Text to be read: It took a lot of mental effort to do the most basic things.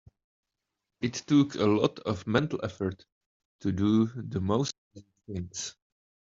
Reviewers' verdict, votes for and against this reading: rejected, 0, 2